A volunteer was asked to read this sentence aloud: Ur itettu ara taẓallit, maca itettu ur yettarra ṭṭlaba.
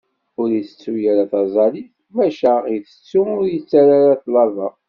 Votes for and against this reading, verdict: 2, 0, accepted